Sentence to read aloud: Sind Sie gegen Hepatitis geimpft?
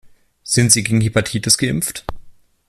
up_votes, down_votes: 2, 0